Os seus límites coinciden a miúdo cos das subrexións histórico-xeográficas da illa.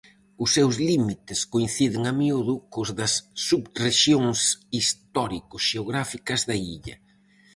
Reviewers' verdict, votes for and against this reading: accepted, 4, 0